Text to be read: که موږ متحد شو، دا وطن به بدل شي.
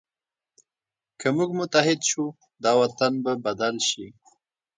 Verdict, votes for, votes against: accepted, 3, 0